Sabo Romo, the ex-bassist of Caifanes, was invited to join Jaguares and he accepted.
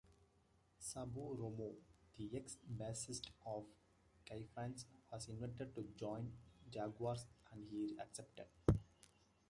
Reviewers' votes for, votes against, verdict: 1, 2, rejected